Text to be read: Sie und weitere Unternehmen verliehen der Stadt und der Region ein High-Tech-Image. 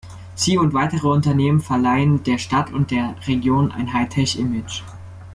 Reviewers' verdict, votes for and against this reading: rejected, 0, 2